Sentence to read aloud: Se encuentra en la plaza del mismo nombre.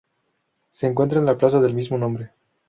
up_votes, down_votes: 2, 0